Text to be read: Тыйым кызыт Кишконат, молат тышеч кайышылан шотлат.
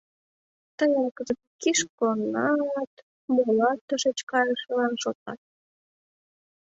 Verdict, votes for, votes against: rejected, 1, 2